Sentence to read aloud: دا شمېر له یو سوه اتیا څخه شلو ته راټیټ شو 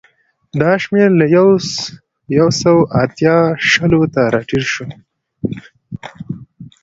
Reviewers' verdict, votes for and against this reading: rejected, 1, 2